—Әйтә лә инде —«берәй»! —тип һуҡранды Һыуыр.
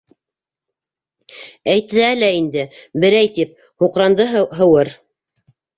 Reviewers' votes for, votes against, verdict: 0, 2, rejected